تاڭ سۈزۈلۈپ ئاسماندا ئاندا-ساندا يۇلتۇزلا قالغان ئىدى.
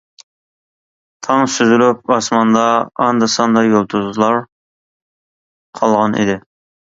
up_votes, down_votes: 2, 3